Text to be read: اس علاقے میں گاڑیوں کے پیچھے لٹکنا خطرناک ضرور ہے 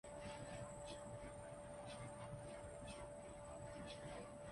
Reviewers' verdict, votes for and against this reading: rejected, 0, 3